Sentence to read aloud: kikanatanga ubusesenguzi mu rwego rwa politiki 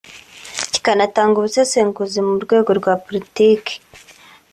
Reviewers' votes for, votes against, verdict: 4, 0, accepted